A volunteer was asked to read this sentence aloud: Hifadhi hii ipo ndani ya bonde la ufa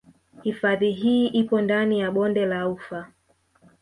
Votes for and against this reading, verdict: 0, 2, rejected